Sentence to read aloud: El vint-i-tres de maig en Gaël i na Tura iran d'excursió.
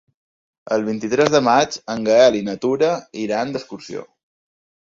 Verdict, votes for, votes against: accepted, 4, 0